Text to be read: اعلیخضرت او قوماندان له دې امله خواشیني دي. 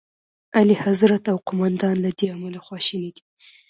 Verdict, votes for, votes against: accepted, 2, 0